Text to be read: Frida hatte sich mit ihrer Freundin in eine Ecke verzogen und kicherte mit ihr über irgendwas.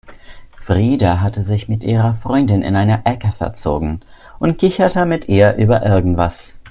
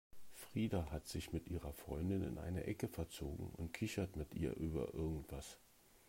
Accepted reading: first